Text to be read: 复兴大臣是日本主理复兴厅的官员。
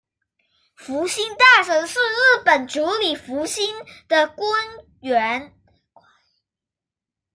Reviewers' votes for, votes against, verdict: 0, 2, rejected